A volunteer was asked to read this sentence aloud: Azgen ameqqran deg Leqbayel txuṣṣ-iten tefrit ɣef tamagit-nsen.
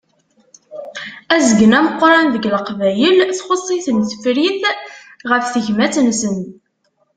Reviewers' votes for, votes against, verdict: 0, 2, rejected